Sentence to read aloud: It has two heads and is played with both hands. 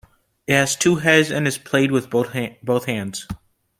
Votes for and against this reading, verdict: 0, 2, rejected